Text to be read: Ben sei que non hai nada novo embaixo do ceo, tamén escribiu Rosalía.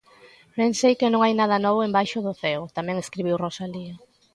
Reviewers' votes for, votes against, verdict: 2, 0, accepted